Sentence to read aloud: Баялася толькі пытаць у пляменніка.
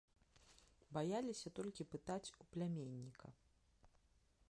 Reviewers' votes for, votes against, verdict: 1, 2, rejected